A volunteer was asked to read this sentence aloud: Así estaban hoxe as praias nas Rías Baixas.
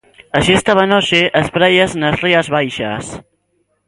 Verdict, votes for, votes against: accepted, 2, 0